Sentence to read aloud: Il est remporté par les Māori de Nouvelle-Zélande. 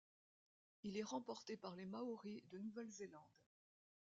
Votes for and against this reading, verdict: 0, 2, rejected